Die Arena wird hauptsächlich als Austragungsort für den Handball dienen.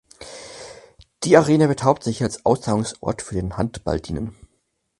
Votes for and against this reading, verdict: 4, 2, accepted